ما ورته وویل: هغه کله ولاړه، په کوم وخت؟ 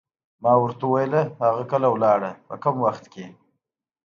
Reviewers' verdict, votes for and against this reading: accepted, 2, 0